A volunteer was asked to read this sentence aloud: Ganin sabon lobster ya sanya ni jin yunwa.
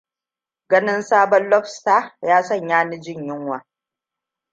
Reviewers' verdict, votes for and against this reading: accepted, 2, 0